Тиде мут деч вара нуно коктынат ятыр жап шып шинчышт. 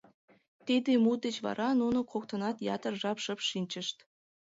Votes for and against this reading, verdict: 2, 0, accepted